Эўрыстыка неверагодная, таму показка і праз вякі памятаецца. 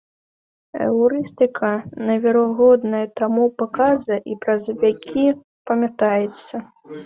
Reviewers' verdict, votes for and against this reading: rejected, 0, 2